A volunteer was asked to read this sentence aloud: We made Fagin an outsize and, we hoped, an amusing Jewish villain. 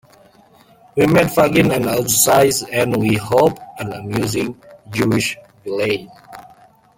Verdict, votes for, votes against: rejected, 0, 2